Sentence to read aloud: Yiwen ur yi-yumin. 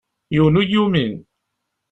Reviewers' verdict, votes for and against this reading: accepted, 2, 0